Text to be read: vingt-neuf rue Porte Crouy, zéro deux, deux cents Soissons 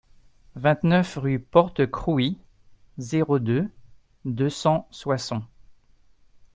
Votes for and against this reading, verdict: 2, 0, accepted